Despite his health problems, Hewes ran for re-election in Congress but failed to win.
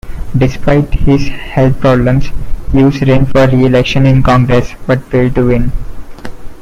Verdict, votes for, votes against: accepted, 2, 0